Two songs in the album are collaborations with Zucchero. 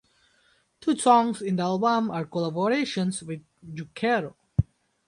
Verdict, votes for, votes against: accepted, 2, 0